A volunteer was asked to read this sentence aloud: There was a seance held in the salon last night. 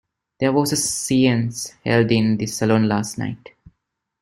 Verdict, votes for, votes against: rejected, 2, 3